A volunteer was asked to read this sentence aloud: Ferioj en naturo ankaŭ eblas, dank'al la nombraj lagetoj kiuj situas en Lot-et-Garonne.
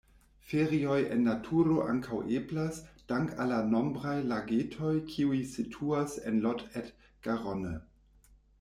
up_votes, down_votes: 1, 2